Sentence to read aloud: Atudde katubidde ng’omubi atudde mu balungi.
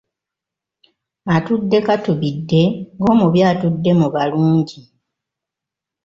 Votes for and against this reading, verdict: 2, 0, accepted